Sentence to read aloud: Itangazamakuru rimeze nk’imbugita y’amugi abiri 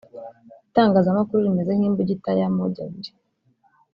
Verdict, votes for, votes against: accepted, 2, 0